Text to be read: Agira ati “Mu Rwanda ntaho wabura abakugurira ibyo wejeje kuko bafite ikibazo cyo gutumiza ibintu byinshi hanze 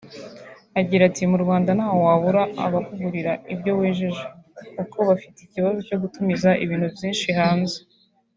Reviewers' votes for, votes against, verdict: 2, 0, accepted